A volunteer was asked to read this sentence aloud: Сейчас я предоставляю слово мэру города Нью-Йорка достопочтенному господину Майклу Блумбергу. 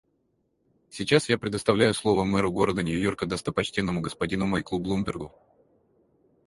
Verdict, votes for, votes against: rejected, 2, 2